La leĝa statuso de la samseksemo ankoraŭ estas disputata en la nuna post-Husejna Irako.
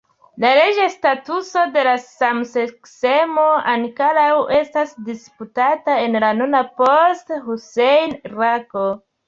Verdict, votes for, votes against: accepted, 3, 2